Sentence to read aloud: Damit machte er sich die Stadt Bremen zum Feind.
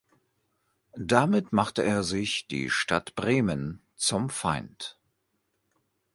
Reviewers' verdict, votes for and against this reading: accepted, 2, 0